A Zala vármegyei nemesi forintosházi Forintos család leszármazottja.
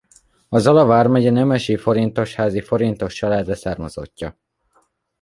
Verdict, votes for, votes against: rejected, 1, 2